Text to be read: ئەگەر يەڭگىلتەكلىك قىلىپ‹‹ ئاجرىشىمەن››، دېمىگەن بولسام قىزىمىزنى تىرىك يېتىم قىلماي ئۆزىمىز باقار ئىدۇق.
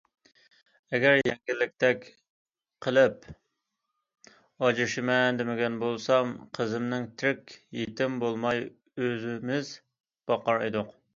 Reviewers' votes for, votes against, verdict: 0, 2, rejected